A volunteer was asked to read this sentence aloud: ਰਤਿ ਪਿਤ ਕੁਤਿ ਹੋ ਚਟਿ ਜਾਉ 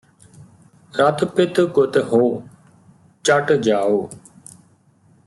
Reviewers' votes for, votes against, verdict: 2, 0, accepted